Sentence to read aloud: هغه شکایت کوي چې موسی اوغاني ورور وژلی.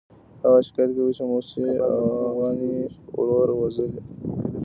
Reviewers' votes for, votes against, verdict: 1, 2, rejected